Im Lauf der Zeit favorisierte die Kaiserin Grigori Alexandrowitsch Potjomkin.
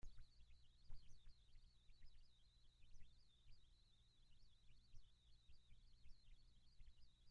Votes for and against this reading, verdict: 0, 2, rejected